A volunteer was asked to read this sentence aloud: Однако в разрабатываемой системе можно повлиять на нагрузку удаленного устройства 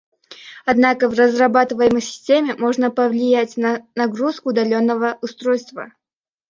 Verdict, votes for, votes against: accepted, 2, 0